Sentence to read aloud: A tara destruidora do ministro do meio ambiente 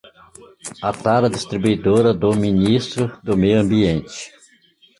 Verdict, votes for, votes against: rejected, 0, 2